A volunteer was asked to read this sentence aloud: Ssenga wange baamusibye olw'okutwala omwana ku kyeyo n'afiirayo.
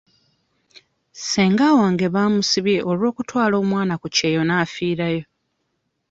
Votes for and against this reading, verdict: 2, 0, accepted